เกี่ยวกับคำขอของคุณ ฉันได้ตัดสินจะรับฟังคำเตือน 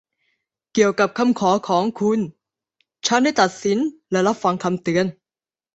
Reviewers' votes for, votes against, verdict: 0, 2, rejected